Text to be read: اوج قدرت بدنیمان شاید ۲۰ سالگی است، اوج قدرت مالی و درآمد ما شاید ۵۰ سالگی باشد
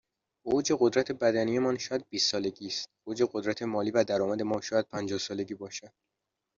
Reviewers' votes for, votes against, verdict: 0, 2, rejected